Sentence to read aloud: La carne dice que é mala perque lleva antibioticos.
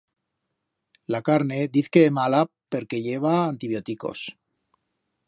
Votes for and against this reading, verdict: 1, 2, rejected